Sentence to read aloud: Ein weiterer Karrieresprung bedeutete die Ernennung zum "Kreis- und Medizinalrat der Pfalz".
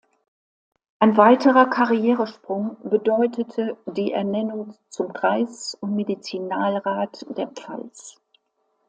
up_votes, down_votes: 2, 0